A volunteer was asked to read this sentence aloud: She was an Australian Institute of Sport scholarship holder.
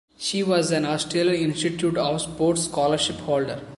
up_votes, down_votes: 2, 1